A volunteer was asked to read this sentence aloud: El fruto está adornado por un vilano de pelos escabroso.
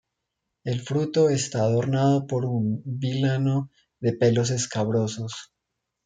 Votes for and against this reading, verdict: 1, 2, rejected